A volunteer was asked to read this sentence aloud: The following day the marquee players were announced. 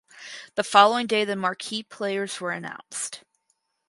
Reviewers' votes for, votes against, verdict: 4, 0, accepted